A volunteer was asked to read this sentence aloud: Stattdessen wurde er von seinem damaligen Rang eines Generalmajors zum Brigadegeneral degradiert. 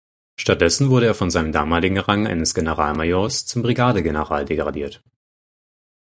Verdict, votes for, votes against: accepted, 4, 0